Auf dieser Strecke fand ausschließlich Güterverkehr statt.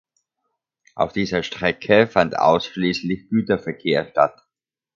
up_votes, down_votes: 2, 0